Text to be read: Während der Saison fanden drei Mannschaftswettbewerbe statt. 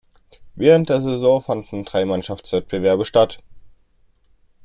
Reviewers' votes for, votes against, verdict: 2, 0, accepted